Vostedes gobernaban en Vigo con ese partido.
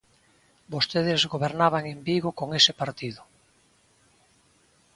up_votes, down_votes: 2, 0